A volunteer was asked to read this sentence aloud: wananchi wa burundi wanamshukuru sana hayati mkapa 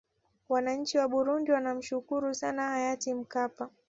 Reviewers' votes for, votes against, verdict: 2, 0, accepted